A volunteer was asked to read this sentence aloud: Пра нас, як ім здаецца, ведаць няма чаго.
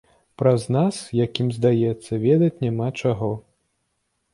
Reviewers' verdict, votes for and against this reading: rejected, 0, 2